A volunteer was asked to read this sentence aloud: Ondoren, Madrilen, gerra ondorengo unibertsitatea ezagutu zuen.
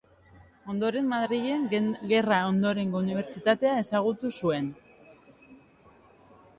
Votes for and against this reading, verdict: 1, 2, rejected